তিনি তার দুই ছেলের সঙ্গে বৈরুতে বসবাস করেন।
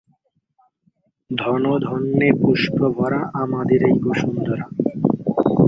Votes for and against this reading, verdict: 0, 8, rejected